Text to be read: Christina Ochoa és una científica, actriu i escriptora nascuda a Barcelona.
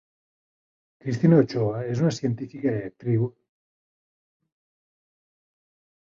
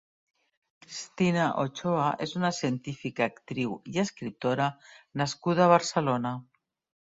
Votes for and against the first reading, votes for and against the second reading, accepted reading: 0, 2, 3, 0, second